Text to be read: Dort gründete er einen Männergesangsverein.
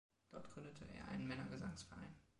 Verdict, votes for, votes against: accepted, 2, 1